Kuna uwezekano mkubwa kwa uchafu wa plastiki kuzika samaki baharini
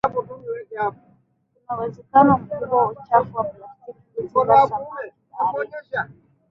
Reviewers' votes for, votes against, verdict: 0, 2, rejected